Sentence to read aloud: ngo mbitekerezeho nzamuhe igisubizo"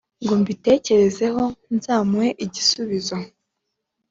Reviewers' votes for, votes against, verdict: 2, 0, accepted